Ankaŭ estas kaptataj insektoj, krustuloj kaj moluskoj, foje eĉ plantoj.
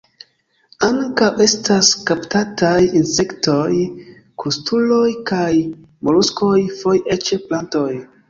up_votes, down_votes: 2, 3